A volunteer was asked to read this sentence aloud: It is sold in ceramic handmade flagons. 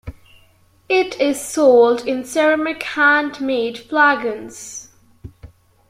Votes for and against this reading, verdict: 2, 0, accepted